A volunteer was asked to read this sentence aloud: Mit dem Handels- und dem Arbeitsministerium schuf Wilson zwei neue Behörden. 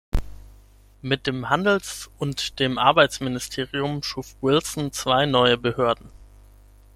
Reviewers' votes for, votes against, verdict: 6, 0, accepted